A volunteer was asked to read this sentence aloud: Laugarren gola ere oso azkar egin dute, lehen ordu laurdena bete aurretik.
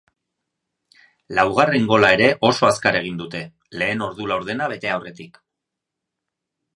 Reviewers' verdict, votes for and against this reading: accepted, 2, 0